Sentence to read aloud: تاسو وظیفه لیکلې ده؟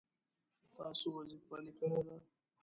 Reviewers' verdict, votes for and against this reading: rejected, 0, 2